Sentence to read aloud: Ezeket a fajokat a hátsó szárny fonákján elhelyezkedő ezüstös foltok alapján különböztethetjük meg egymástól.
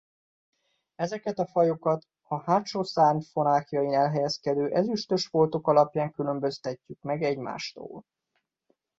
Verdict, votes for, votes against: rejected, 0, 2